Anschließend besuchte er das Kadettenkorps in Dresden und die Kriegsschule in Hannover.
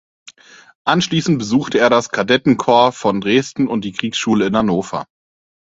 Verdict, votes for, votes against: rejected, 2, 4